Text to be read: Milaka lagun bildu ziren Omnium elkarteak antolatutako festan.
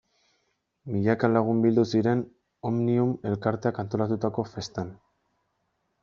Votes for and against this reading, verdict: 2, 0, accepted